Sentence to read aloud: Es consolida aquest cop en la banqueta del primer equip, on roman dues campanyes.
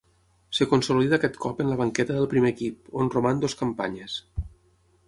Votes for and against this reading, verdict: 0, 12, rejected